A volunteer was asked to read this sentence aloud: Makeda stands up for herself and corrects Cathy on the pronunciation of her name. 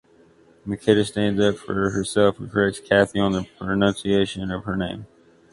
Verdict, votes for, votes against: rejected, 0, 2